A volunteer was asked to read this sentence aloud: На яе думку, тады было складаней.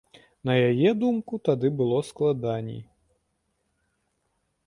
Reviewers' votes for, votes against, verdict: 3, 0, accepted